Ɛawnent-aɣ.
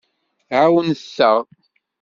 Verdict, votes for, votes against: accepted, 2, 0